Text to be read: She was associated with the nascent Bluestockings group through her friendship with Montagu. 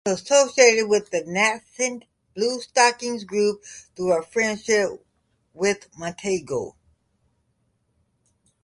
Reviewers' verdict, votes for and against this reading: rejected, 1, 2